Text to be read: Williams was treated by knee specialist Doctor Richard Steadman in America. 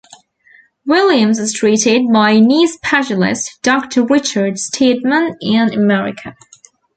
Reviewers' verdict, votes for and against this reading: accepted, 2, 0